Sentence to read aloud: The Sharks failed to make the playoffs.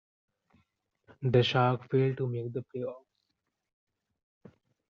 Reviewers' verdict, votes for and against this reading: rejected, 0, 2